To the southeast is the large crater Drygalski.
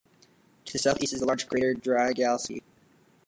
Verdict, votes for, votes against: rejected, 1, 2